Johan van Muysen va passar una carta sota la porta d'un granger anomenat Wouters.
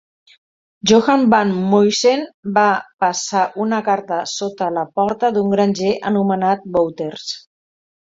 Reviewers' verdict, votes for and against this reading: accepted, 2, 1